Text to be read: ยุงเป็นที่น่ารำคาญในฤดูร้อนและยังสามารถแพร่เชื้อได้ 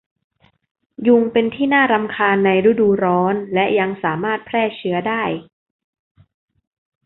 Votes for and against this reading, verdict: 2, 0, accepted